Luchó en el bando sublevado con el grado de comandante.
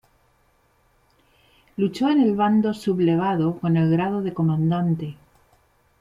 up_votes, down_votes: 2, 0